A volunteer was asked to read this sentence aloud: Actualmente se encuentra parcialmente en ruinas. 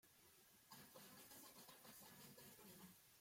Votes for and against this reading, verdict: 0, 2, rejected